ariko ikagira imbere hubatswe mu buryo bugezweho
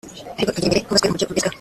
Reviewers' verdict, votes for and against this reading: rejected, 0, 2